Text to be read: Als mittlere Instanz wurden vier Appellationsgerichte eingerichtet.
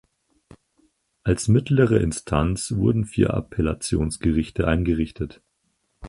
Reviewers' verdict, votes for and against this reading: accepted, 4, 0